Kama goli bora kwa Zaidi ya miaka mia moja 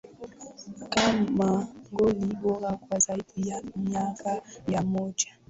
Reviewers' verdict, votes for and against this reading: accepted, 10, 4